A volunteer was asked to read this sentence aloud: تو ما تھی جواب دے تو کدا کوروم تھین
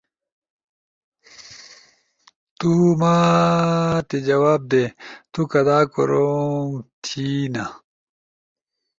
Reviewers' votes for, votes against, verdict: 2, 0, accepted